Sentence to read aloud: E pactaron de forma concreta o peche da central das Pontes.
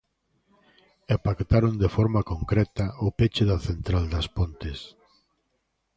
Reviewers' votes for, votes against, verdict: 3, 0, accepted